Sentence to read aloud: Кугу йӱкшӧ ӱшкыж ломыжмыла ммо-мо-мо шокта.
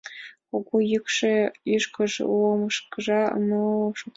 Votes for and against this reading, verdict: 0, 2, rejected